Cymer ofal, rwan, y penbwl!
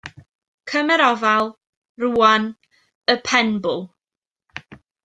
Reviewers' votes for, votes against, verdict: 2, 0, accepted